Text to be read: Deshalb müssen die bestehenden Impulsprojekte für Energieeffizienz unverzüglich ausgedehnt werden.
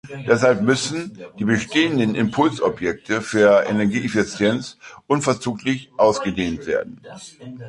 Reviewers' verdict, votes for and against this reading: rejected, 0, 3